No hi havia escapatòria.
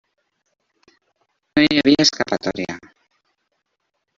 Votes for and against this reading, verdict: 1, 2, rejected